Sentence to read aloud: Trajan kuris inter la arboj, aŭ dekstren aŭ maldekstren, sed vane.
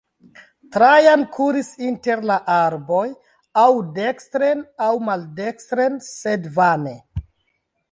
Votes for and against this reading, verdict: 2, 0, accepted